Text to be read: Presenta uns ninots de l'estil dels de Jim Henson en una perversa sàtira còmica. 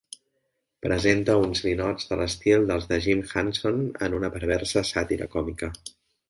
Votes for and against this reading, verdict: 2, 0, accepted